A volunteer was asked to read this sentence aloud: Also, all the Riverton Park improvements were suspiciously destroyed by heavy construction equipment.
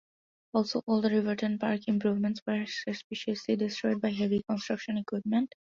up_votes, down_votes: 0, 2